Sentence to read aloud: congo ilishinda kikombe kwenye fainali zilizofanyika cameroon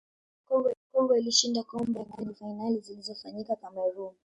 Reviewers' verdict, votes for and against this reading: rejected, 0, 2